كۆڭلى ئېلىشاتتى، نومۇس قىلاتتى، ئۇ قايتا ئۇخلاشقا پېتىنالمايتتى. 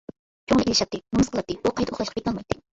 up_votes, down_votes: 0, 2